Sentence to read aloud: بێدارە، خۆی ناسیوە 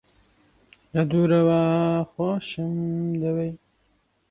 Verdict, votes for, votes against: rejected, 1, 2